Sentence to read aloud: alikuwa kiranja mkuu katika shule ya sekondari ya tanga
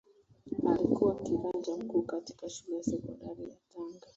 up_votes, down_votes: 1, 2